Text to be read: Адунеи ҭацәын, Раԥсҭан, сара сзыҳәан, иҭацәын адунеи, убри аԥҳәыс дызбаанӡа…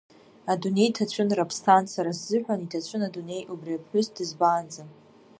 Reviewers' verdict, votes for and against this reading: rejected, 0, 2